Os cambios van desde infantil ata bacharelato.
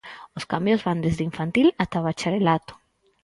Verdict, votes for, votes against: accepted, 6, 0